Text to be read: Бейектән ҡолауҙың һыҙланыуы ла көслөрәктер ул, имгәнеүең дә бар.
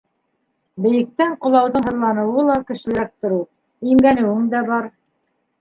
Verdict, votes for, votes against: rejected, 1, 2